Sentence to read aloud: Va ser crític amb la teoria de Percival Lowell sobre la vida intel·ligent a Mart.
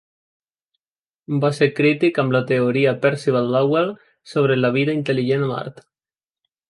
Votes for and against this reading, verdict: 2, 0, accepted